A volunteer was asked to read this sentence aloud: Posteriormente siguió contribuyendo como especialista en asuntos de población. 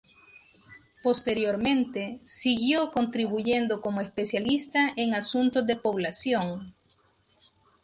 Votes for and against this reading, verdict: 2, 0, accepted